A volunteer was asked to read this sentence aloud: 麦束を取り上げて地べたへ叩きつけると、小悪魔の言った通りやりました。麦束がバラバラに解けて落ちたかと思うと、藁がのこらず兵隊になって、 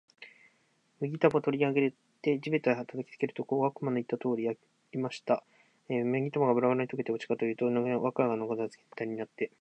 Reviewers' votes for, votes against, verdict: 0, 2, rejected